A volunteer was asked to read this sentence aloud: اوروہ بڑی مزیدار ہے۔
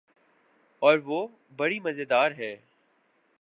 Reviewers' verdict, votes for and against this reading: accepted, 14, 0